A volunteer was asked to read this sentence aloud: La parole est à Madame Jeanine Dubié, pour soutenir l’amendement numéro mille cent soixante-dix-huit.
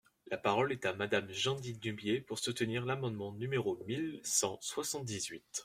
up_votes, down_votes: 0, 2